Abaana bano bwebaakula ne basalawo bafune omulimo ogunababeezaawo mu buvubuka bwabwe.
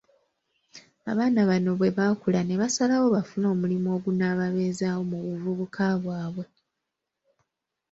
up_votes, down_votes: 3, 0